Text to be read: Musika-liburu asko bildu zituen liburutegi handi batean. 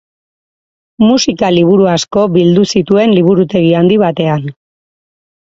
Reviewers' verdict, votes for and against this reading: accepted, 4, 0